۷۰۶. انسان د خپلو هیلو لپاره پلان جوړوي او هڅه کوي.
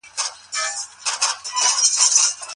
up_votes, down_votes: 0, 2